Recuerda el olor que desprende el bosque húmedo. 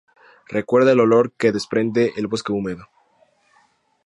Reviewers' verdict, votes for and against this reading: accepted, 2, 0